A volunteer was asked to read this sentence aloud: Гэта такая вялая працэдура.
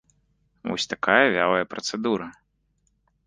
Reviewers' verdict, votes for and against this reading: rejected, 1, 3